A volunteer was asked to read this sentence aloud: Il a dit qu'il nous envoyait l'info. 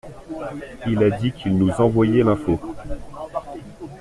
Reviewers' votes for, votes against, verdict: 2, 0, accepted